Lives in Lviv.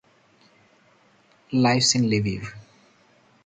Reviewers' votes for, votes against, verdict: 0, 2, rejected